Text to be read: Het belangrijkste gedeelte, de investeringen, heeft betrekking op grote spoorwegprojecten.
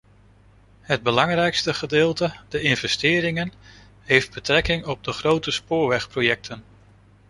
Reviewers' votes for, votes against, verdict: 0, 2, rejected